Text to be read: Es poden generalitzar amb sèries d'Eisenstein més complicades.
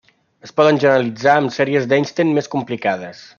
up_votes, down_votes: 0, 2